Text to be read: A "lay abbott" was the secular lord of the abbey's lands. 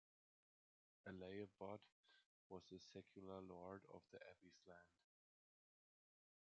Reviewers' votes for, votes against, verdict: 2, 0, accepted